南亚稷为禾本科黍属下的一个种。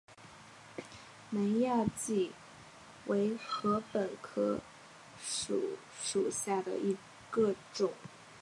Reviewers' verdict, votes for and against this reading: rejected, 1, 3